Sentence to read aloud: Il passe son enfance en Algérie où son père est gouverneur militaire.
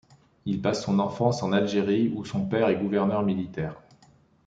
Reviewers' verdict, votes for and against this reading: accepted, 2, 0